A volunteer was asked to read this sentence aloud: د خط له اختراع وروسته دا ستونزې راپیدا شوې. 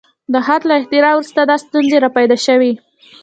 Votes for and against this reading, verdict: 2, 0, accepted